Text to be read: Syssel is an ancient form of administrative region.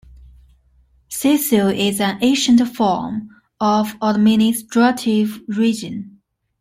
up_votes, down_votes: 2, 0